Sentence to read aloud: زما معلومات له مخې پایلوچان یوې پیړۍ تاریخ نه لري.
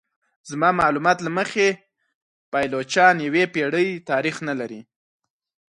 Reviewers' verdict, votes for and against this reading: accepted, 4, 0